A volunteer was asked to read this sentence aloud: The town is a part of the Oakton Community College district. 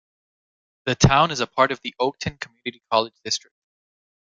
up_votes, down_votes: 0, 2